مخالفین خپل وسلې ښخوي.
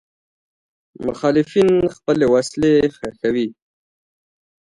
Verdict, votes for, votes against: accepted, 2, 1